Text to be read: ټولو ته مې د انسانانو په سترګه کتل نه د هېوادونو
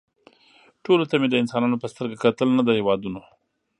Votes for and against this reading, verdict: 2, 0, accepted